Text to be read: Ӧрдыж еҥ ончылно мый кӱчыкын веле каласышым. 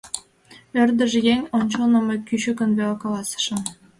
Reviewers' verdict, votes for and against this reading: accepted, 2, 0